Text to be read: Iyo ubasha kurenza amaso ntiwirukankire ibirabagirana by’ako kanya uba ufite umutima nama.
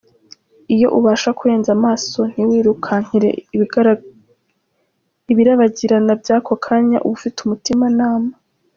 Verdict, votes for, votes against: rejected, 1, 2